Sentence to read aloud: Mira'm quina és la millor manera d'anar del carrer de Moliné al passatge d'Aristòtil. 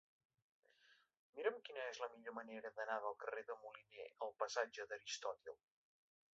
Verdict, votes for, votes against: accepted, 3, 2